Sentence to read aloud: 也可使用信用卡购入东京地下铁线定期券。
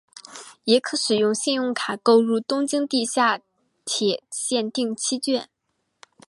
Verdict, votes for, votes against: accepted, 4, 1